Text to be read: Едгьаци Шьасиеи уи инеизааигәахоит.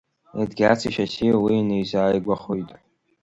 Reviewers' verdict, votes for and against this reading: accepted, 2, 1